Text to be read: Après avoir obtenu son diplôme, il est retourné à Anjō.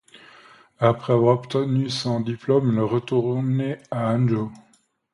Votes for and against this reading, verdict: 2, 0, accepted